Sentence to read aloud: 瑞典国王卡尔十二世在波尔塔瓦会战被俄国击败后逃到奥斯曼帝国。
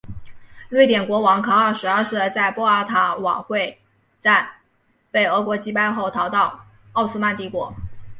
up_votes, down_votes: 6, 1